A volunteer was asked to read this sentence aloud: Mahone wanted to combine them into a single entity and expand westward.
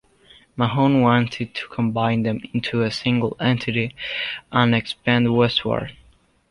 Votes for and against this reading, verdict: 2, 0, accepted